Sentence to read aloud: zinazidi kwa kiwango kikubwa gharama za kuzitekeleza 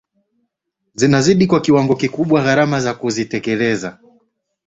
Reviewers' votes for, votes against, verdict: 3, 0, accepted